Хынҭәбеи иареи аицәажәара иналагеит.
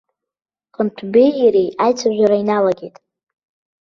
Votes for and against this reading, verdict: 2, 1, accepted